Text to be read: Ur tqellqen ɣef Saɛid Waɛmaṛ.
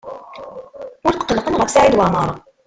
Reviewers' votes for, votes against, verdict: 0, 2, rejected